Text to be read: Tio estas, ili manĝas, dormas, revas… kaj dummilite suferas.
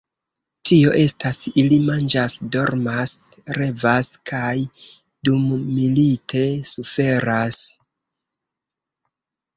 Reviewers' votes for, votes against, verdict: 2, 0, accepted